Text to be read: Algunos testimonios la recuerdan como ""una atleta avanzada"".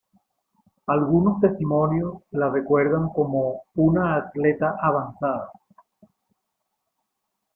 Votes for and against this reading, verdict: 0, 2, rejected